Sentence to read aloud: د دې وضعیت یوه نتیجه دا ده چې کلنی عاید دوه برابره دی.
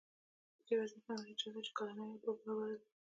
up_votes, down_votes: 0, 2